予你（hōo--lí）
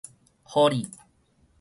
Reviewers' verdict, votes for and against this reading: rejected, 0, 4